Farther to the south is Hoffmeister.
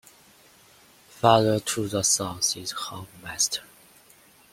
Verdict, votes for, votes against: accepted, 2, 0